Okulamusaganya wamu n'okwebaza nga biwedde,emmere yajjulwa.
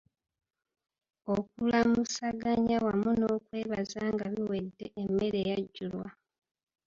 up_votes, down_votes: 1, 2